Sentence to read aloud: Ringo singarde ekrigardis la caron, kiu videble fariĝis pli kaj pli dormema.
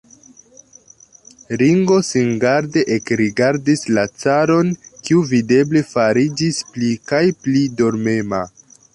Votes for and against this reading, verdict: 2, 1, accepted